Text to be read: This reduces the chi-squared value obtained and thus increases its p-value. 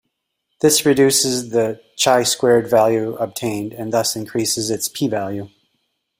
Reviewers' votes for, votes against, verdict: 1, 2, rejected